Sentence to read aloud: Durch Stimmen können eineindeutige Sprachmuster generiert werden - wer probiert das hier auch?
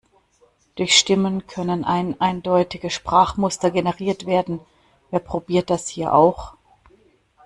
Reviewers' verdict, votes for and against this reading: accepted, 2, 0